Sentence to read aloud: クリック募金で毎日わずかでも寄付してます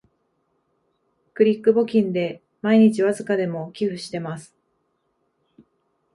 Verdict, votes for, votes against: accepted, 3, 0